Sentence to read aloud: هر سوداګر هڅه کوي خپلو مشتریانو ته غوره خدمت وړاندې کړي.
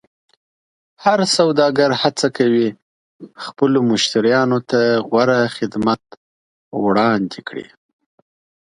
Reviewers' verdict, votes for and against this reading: accepted, 2, 0